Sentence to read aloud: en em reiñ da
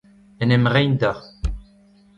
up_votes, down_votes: 0, 2